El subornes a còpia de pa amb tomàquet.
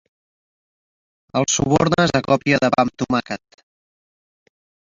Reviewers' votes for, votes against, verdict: 0, 2, rejected